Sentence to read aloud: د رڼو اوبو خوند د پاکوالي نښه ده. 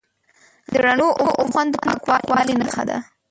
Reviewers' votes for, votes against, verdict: 0, 2, rejected